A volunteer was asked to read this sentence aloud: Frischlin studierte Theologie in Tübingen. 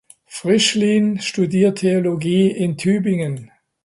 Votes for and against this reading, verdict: 0, 2, rejected